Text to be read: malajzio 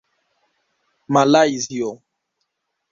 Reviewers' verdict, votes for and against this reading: rejected, 1, 2